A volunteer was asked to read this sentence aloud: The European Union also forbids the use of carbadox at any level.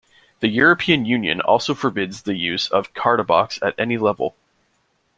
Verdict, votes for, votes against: rejected, 0, 2